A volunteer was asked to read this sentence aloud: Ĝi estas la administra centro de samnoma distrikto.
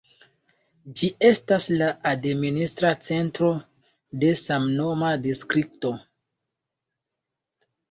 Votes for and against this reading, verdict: 3, 0, accepted